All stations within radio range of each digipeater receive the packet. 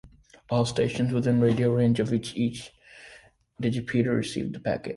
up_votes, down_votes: 0, 2